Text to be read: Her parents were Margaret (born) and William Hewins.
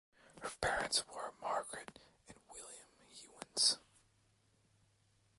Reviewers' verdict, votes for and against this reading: rejected, 0, 2